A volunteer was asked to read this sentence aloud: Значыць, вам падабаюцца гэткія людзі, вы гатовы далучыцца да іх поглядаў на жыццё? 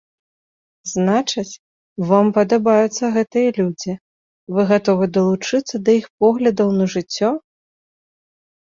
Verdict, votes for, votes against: rejected, 0, 2